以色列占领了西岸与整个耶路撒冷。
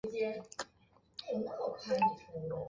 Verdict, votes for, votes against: rejected, 0, 3